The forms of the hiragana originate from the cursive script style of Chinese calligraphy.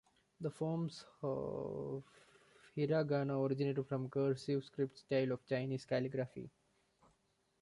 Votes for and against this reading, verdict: 0, 2, rejected